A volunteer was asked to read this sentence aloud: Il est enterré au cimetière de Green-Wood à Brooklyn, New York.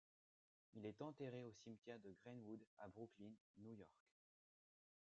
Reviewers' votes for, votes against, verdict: 2, 0, accepted